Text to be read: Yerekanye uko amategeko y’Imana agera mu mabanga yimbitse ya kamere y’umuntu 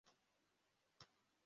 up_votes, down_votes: 0, 2